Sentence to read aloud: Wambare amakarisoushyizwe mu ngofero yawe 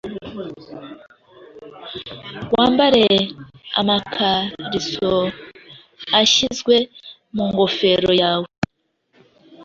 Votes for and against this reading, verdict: 1, 2, rejected